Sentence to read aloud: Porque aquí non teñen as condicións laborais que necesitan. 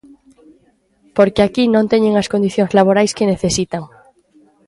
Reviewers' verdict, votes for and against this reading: accepted, 2, 0